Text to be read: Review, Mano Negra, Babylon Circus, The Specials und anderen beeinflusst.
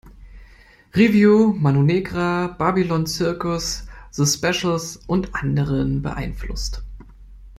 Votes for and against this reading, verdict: 2, 0, accepted